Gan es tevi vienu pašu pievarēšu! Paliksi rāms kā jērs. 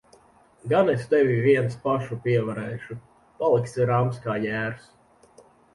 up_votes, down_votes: 0, 2